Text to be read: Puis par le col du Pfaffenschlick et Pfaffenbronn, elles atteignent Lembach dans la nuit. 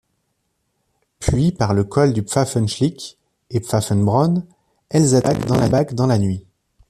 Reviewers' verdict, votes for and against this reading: rejected, 0, 2